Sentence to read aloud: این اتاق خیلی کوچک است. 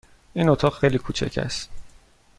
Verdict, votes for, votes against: accepted, 2, 0